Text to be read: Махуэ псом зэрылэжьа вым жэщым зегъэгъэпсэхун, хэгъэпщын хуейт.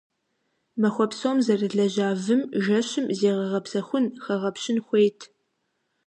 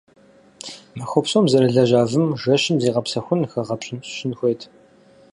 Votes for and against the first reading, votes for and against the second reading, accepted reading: 2, 0, 2, 4, first